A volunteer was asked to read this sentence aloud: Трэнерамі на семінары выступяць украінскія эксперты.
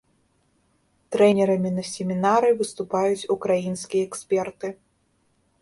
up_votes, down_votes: 1, 2